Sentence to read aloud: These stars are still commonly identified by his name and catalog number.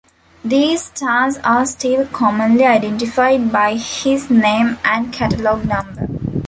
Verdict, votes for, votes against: rejected, 1, 2